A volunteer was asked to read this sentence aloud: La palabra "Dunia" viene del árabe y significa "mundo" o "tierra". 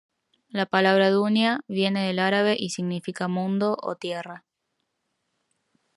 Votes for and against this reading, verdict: 2, 1, accepted